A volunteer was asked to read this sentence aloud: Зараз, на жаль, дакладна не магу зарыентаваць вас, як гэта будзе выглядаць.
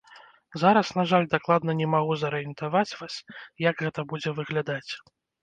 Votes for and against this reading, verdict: 2, 0, accepted